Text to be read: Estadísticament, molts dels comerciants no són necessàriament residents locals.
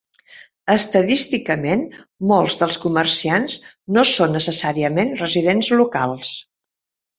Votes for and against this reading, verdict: 5, 0, accepted